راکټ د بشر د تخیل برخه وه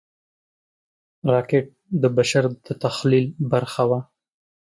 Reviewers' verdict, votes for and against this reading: rejected, 1, 2